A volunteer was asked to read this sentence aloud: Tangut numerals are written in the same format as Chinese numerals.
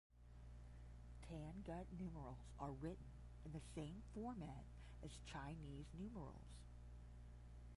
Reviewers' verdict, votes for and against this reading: rejected, 5, 5